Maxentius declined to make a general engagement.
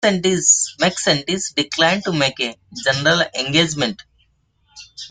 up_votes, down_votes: 0, 2